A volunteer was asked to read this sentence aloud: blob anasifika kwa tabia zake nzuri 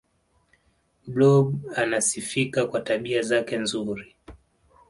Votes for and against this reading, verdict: 2, 0, accepted